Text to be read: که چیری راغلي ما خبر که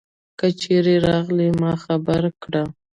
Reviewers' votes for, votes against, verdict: 1, 2, rejected